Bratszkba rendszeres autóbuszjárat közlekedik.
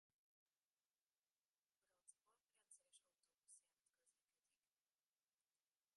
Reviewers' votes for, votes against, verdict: 0, 2, rejected